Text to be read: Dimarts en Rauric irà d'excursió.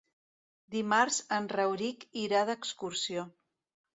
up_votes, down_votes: 2, 0